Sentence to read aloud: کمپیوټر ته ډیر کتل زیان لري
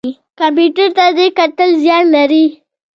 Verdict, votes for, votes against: accepted, 2, 0